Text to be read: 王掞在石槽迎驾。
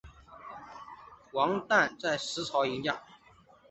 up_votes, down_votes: 3, 1